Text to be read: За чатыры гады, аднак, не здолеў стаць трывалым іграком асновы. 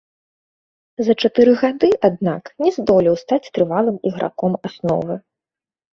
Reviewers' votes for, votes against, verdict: 2, 0, accepted